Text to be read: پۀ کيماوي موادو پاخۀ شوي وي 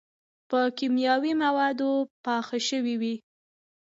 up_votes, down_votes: 1, 2